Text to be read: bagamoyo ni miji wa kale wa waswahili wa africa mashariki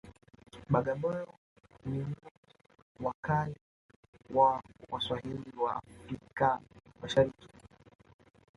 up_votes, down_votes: 1, 2